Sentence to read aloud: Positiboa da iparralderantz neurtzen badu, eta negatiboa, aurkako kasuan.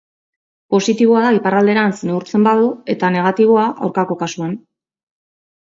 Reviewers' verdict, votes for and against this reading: accepted, 2, 1